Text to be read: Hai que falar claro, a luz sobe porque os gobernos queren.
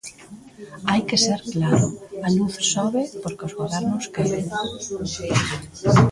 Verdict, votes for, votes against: rejected, 0, 2